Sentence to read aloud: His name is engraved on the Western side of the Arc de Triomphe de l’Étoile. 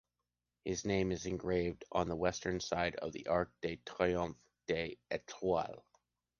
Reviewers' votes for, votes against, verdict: 2, 0, accepted